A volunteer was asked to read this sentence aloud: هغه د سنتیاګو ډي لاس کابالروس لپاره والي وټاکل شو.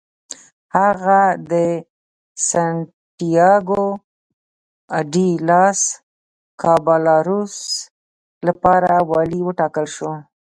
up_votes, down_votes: 2, 0